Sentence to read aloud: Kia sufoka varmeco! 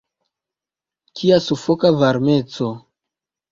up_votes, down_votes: 1, 2